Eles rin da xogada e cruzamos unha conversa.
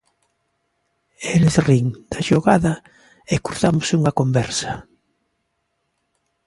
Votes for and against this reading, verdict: 3, 1, accepted